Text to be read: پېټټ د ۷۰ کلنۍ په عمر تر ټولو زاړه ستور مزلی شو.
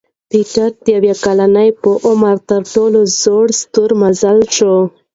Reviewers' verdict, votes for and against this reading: rejected, 0, 2